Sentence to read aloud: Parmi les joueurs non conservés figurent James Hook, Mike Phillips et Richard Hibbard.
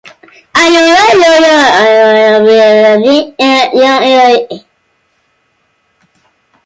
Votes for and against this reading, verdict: 0, 2, rejected